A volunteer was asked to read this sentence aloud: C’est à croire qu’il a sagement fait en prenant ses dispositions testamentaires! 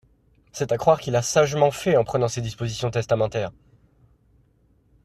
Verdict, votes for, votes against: accepted, 2, 0